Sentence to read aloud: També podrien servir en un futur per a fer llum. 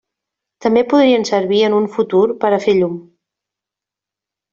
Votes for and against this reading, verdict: 3, 0, accepted